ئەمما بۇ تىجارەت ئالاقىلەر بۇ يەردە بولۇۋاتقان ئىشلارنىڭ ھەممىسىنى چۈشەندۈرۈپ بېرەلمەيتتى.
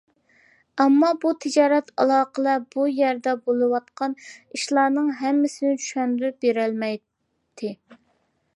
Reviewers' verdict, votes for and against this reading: accepted, 2, 0